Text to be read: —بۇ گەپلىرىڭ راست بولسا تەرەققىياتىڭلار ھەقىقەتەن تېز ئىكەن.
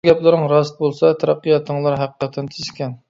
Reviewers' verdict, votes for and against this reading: accepted, 2, 1